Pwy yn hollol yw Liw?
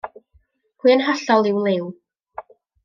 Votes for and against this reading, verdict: 2, 0, accepted